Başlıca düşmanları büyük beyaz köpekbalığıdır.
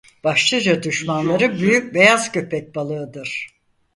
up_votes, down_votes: 2, 4